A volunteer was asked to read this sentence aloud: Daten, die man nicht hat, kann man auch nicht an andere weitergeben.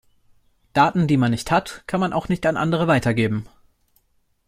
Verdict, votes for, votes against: accepted, 2, 0